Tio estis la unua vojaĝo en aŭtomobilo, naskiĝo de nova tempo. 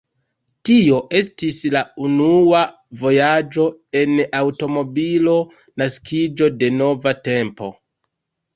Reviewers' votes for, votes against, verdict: 2, 0, accepted